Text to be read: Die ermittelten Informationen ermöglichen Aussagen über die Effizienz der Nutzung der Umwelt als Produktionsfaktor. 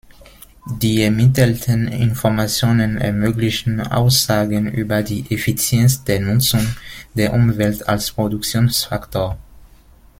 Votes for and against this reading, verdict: 2, 1, accepted